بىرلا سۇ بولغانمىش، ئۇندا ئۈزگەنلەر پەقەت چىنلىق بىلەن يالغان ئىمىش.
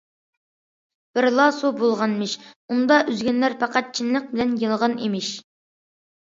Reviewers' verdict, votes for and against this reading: accepted, 2, 0